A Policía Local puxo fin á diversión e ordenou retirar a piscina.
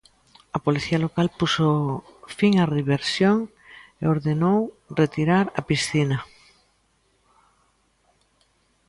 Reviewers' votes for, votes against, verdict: 0, 2, rejected